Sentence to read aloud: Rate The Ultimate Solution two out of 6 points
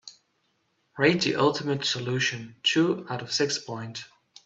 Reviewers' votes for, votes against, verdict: 0, 2, rejected